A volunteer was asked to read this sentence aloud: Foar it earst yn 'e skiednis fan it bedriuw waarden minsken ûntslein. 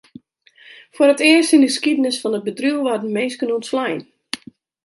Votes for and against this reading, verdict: 0, 2, rejected